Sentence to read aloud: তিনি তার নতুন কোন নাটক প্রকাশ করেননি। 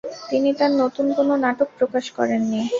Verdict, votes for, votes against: accepted, 2, 0